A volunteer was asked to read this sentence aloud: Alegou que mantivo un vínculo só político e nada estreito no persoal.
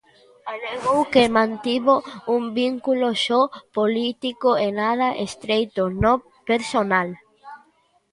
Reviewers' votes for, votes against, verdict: 0, 2, rejected